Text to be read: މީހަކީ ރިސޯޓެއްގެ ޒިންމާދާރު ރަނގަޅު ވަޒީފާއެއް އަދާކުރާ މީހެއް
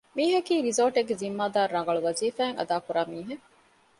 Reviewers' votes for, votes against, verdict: 2, 0, accepted